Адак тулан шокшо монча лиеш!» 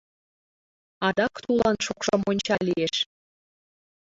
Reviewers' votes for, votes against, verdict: 0, 3, rejected